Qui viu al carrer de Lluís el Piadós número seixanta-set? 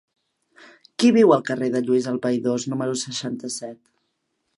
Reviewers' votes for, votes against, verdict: 0, 2, rejected